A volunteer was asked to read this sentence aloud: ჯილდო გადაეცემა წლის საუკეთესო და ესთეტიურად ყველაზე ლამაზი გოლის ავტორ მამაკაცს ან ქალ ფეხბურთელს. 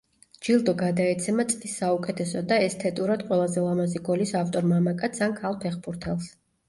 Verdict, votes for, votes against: rejected, 0, 2